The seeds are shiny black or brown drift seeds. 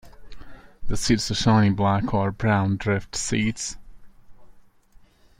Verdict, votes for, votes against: accepted, 2, 0